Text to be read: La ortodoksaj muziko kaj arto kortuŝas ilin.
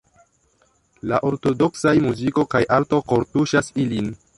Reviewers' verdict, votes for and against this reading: accepted, 3, 0